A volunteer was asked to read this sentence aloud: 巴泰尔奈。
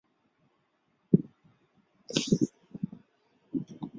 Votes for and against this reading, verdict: 0, 3, rejected